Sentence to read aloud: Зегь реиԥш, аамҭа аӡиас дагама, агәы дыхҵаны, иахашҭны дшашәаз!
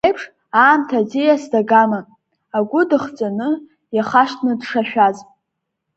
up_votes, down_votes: 3, 1